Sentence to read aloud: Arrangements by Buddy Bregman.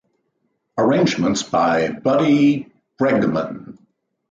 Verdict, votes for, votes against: accepted, 2, 1